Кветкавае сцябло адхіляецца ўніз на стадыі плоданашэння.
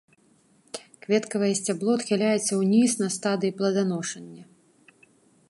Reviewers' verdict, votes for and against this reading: rejected, 1, 2